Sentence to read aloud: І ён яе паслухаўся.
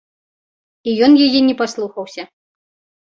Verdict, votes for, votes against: rejected, 0, 2